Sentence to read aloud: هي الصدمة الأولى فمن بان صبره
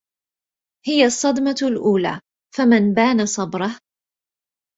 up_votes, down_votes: 1, 2